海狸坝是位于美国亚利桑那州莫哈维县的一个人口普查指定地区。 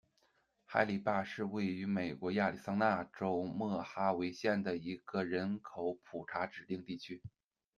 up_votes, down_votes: 2, 0